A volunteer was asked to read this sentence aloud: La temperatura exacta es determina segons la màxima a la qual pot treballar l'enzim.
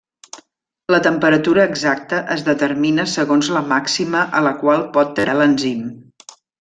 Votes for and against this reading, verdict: 1, 2, rejected